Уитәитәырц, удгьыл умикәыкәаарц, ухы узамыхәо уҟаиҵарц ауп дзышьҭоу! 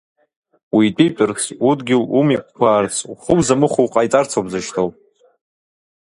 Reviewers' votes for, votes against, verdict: 0, 2, rejected